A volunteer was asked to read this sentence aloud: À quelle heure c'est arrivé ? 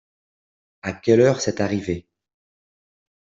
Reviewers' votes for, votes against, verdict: 2, 0, accepted